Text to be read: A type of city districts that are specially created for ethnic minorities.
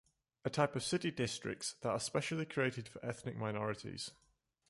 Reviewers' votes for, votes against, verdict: 1, 2, rejected